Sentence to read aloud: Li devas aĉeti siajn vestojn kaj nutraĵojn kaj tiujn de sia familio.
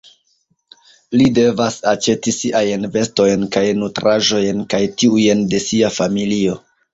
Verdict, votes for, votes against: accepted, 2, 1